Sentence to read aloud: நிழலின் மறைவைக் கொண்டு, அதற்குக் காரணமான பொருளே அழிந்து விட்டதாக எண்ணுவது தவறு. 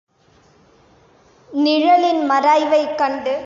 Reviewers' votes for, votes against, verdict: 1, 2, rejected